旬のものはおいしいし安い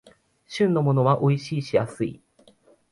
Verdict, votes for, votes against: accepted, 4, 0